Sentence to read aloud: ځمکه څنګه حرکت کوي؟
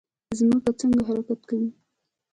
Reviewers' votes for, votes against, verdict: 1, 2, rejected